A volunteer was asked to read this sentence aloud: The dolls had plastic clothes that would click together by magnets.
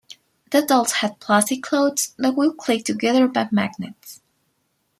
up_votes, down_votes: 2, 0